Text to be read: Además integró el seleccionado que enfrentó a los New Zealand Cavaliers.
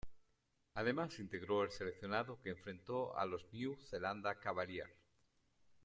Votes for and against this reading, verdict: 2, 1, accepted